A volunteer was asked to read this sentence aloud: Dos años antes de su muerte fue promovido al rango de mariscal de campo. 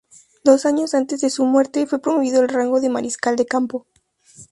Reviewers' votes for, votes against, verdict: 2, 0, accepted